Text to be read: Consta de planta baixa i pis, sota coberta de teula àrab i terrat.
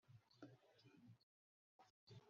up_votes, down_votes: 0, 2